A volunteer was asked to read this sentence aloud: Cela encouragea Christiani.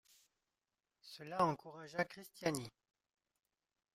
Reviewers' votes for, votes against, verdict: 2, 0, accepted